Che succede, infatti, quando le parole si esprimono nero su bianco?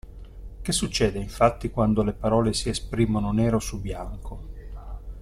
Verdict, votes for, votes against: accepted, 2, 0